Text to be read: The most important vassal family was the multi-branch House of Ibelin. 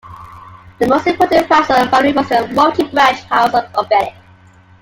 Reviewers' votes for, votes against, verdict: 0, 2, rejected